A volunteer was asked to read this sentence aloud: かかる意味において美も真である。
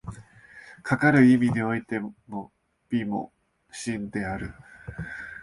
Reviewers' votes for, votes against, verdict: 0, 2, rejected